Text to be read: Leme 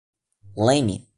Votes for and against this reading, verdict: 2, 0, accepted